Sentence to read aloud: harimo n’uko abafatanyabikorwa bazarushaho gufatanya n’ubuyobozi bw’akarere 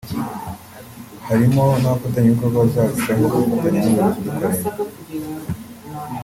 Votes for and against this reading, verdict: 1, 2, rejected